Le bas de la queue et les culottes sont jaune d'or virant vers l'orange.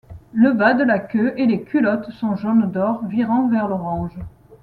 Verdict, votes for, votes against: accepted, 2, 0